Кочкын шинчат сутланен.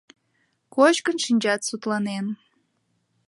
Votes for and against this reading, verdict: 2, 0, accepted